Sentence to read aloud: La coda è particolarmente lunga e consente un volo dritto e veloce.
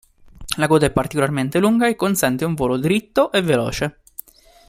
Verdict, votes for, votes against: accepted, 2, 0